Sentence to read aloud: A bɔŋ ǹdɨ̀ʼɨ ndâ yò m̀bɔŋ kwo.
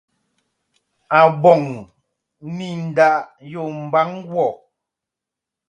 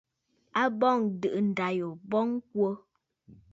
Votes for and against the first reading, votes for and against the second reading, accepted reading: 1, 2, 2, 0, second